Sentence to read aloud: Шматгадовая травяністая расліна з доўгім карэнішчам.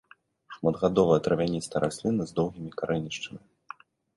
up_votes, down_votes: 1, 2